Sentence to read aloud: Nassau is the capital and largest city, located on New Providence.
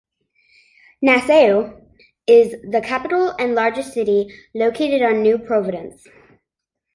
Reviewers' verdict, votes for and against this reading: accepted, 2, 0